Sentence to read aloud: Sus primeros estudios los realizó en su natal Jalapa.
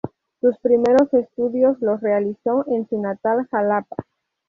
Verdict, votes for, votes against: accepted, 2, 0